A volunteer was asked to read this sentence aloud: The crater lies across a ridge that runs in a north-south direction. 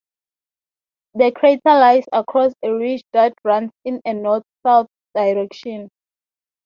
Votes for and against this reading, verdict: 0, 3, rejected